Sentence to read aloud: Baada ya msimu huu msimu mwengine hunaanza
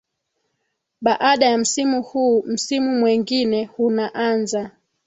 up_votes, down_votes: 2, 0